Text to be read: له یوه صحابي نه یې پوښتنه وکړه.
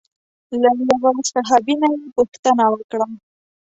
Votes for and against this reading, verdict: 0, 2, rejected